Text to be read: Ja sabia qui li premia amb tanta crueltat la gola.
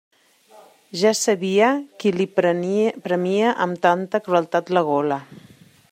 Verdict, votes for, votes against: rejected, 0, 2